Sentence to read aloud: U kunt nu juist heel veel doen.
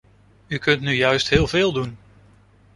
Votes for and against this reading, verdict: 2, 0, accepted